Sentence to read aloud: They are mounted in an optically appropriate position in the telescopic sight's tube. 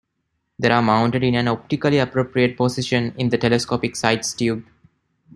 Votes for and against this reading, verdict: 2, 1, accepted